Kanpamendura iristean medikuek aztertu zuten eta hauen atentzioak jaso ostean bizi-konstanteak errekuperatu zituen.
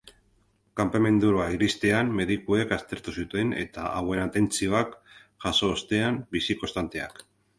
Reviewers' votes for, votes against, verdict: 0, 2, rejected